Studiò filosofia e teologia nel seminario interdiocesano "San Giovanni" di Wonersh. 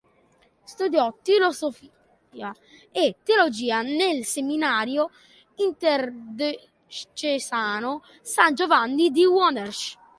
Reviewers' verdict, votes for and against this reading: rejected, 0, 2